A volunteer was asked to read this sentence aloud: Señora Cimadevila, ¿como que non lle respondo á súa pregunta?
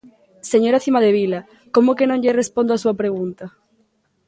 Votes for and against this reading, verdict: 2, 0, accepted